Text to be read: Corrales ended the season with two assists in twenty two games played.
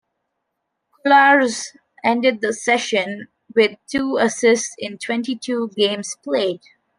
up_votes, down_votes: 1, 2